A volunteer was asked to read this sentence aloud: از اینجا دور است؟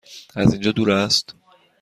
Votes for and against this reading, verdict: 2, 0, accepted